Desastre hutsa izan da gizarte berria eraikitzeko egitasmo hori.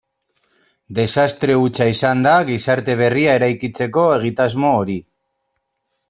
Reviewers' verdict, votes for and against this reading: accepted, 2, 0